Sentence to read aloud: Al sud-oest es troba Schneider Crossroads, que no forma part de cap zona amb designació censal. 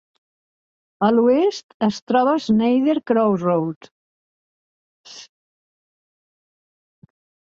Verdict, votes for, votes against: rejected, 0, 2